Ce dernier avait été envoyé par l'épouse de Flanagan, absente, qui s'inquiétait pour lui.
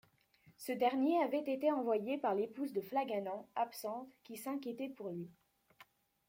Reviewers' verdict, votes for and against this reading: rejected, 1, 2